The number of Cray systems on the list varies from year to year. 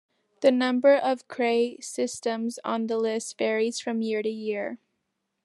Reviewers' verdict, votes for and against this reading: accepted, 2, 0